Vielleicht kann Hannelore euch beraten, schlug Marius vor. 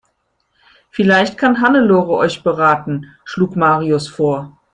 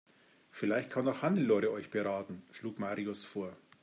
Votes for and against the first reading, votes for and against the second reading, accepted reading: 2, 0, 0, 2, first